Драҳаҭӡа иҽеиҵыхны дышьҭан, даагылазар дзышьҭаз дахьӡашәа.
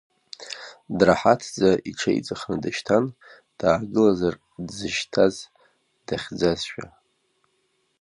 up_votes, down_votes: 0, 2